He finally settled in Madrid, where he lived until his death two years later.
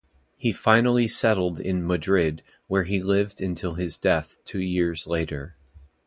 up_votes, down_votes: 2, 0